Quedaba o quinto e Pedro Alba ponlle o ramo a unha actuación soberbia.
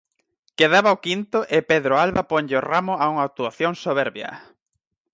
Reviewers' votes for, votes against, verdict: 4, 0, accepted